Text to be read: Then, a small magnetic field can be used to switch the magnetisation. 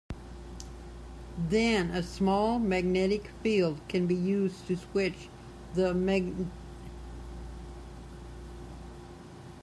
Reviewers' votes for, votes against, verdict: 1, 2, rejected